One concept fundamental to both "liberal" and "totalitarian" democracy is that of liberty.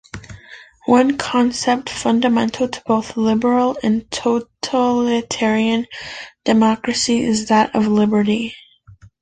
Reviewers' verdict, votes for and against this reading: accepted, 2, 0